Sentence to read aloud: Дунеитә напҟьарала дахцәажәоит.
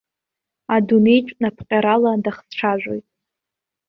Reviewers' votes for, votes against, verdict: 1, 2, rejected